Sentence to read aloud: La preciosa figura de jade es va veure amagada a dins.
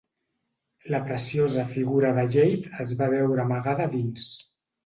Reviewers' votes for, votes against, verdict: 1, 2, rejected